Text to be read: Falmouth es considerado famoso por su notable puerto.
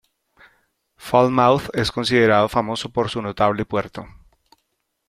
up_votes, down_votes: 2, 0